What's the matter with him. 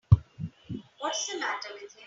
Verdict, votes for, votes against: rejected, 2, 3